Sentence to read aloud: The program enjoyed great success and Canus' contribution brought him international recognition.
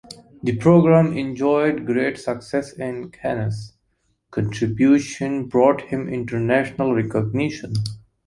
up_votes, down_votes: 2, 0